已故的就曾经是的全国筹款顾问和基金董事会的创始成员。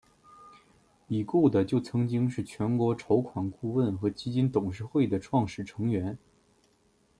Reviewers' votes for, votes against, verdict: 2, 0, accepted